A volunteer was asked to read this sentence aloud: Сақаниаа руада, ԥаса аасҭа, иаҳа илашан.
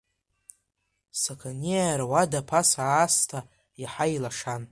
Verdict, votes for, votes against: accepted, 2, 0